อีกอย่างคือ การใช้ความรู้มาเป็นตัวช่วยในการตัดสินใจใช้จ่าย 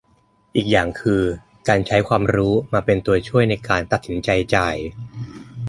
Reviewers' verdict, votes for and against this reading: rejected, 0, 2